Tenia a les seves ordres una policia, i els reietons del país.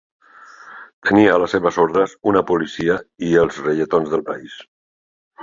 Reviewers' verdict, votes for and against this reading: accepted, 2, 0